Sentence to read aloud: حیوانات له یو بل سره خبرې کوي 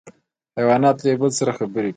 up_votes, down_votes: 0, 2